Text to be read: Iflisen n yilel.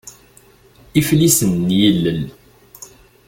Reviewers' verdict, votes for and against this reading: accepted, 2, 0